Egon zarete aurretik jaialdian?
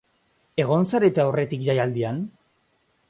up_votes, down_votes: 2, 0